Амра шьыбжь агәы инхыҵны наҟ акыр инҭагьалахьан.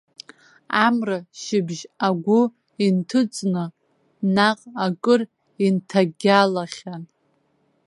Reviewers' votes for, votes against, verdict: 0, 2, rejected